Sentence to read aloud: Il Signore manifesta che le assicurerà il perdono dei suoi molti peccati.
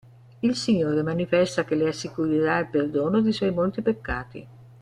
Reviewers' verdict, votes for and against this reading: accepted, 2, 0